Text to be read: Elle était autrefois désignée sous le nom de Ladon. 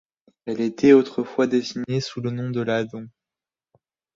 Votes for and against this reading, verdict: 2, 0, accepted